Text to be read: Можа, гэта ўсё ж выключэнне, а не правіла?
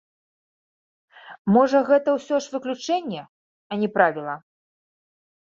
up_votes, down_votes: 2, 0